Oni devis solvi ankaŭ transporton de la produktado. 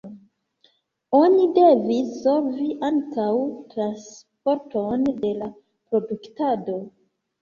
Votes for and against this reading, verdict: 1, 2, rejected